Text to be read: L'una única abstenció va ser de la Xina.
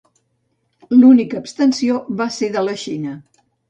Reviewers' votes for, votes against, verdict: 0, 2, rejected